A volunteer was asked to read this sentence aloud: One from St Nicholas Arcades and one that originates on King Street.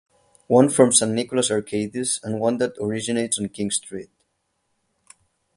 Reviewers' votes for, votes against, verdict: 8, 0, accepted